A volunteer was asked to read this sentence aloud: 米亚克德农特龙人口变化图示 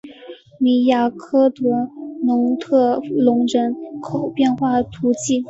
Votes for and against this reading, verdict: 2, 0, accepted